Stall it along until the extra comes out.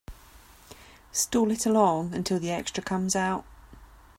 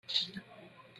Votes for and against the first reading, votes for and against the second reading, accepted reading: 2, 0, 0, 3, first